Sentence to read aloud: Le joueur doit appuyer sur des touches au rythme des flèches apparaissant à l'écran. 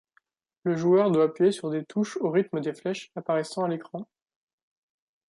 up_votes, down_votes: 2, 0